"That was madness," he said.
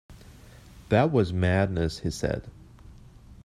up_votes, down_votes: 2, 0